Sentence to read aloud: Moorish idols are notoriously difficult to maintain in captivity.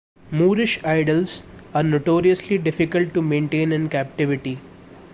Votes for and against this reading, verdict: 2, 0, accepted